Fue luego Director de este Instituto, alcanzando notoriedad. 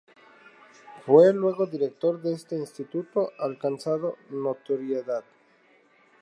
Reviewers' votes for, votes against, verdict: 0, 2, rejected